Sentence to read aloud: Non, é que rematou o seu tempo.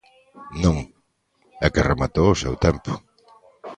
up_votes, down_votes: 1, 2